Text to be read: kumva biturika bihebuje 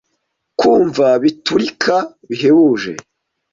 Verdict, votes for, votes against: accepted, 2, 0